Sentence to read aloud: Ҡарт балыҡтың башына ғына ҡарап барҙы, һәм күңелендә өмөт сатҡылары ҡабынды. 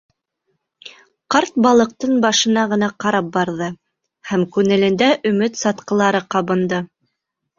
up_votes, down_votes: 1, 2